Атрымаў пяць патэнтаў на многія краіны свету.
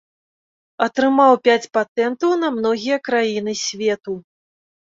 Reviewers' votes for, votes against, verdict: 2, 0, accepted